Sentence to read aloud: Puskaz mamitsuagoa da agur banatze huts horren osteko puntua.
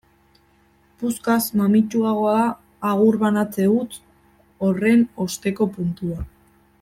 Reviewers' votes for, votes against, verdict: 1, 2, rejected